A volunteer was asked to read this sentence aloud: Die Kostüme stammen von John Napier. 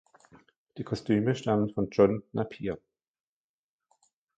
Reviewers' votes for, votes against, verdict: 2, 0, accepted